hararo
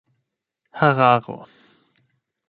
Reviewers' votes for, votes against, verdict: 8, 0, accepted